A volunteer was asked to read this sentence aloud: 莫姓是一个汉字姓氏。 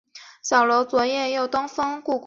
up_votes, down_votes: 1, 5